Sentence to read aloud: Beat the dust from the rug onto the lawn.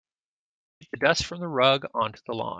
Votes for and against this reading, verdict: 1, 2, rejected